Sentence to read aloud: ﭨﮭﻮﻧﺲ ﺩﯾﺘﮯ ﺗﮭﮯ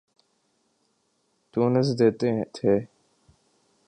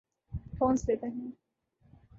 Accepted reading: second